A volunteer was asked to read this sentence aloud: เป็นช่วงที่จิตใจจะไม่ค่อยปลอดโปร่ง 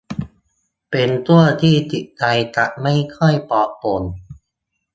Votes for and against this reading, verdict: 1, 3, rejected